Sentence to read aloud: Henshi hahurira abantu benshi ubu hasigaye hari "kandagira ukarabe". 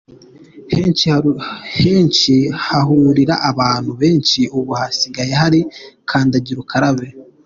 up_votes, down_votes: 2, 0